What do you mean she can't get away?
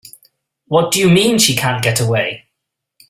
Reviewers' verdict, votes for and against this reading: accepted, 2, 0